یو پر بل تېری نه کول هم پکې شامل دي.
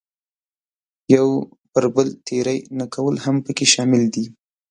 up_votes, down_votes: 3, 0